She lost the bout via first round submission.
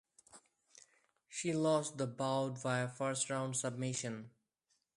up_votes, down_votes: 2, 0